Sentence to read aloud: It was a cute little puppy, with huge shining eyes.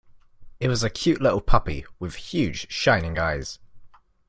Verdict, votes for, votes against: accepted, 2, 0